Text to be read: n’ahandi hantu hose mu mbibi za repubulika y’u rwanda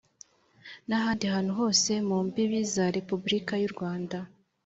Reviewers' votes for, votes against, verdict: 2, 0, accepted